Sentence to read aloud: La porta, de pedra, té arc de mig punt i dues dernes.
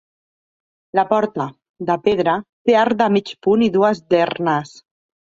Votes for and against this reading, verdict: 3, 0, accepted